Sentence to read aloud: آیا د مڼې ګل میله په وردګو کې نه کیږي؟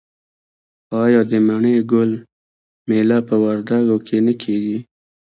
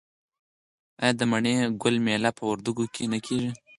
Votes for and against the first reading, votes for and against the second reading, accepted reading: 2, 1, 2, 4, first